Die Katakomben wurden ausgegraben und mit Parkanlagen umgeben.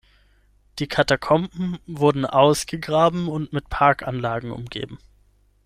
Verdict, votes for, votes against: accepted, 6, 0